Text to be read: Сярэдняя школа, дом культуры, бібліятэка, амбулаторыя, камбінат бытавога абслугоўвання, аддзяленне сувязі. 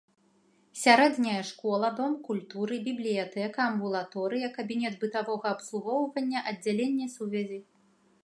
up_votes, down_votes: 0, 2